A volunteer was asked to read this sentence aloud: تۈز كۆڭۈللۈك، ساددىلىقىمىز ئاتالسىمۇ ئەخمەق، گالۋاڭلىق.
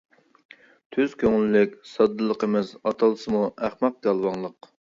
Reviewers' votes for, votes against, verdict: 2, 0, accepted